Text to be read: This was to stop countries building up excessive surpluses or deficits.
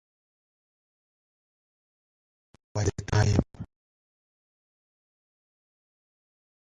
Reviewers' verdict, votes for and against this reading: rejected, 0, 2